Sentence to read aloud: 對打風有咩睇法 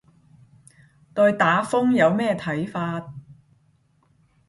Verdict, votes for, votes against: accepted, 10, 0